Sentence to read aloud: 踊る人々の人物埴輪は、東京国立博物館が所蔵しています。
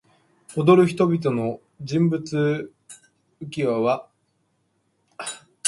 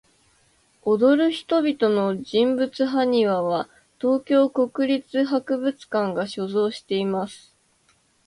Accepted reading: second